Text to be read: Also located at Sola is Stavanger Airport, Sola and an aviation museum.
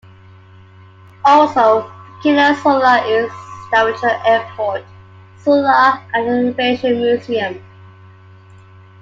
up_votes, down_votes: 1, 2